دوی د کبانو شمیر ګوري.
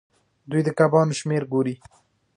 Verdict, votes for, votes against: rejected, 0, 2